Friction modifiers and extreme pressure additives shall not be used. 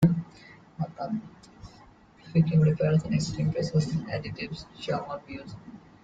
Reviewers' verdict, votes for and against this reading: rejected, 0, 2